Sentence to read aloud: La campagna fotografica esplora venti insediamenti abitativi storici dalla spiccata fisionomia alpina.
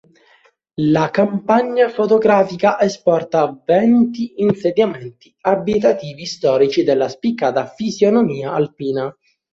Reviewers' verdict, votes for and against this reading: rejected, 0, 2